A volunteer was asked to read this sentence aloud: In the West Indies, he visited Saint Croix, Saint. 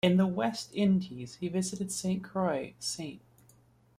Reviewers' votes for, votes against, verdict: 2, 0, accepted